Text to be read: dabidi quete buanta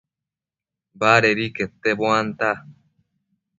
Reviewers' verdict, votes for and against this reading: rejected, 1, 2